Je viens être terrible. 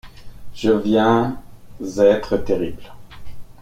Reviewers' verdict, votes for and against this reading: accepted, 2, 1